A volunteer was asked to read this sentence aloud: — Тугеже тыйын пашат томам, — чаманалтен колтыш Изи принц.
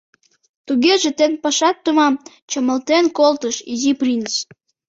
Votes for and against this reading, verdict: 1, 2, rejected